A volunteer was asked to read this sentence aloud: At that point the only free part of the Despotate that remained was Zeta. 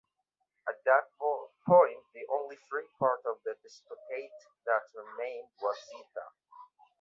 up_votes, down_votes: 1, 2